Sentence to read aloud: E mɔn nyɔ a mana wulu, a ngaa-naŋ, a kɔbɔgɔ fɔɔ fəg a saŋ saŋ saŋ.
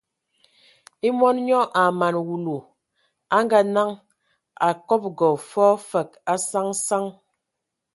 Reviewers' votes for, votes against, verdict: 3, 0, accepted